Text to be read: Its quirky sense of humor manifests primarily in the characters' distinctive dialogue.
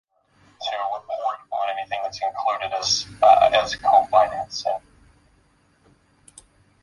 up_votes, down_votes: 0, 2